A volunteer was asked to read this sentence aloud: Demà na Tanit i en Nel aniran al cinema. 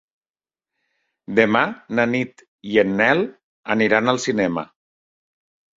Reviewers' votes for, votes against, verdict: 0, 2, rejected